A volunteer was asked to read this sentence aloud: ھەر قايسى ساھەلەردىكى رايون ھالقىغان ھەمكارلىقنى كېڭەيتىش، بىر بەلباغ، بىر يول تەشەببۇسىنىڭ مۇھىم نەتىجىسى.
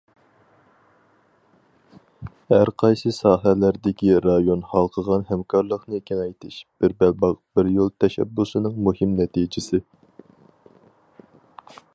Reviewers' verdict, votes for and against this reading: accepted, 4, 0